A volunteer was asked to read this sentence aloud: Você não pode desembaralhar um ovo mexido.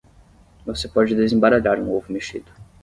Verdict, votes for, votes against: rejected, 3, 3